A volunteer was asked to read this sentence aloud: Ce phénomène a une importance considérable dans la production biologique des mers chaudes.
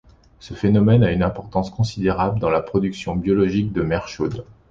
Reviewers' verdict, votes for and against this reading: rejected, 1, 2